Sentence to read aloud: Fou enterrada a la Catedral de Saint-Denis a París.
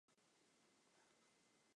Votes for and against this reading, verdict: 1, 2, rejected